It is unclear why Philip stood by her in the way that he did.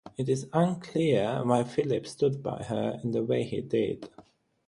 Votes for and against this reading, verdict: 0, 6, rejected